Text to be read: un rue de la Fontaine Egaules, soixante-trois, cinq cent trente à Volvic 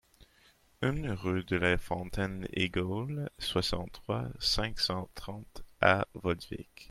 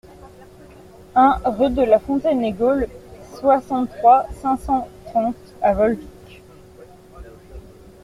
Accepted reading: second